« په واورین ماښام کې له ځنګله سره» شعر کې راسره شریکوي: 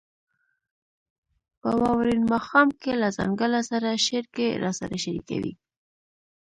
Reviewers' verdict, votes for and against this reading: rejected, 0, 2